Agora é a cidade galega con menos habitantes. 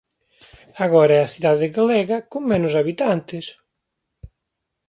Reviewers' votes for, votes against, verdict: 2, 0, accepted